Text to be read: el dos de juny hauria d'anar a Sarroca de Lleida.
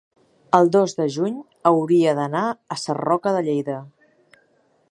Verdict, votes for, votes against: accepted, 3, 0